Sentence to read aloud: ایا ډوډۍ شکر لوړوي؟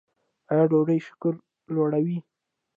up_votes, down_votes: 1, 2